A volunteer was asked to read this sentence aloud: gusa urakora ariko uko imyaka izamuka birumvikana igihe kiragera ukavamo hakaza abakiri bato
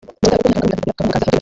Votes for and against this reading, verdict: 0, 2, rejected